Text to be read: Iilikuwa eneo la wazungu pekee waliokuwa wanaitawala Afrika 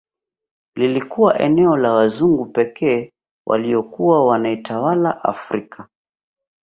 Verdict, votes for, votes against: rejected, 1, 2